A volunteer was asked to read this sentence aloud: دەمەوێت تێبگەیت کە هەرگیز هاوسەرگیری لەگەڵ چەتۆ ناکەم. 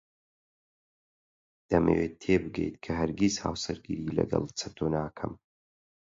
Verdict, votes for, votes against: accepted, 8, 0